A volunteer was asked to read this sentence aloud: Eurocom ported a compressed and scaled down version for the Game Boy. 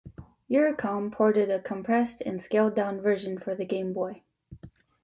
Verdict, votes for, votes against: accepted, 2, 0